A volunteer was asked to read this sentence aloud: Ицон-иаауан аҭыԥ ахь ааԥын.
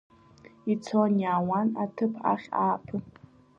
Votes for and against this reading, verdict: 2, 1, accepted